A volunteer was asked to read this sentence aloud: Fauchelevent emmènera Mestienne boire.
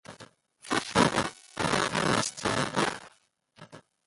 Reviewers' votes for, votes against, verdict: 1, 2, rejected